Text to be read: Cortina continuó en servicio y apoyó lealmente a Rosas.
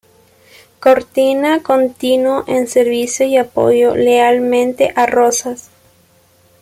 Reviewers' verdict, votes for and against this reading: rejected, 0, 2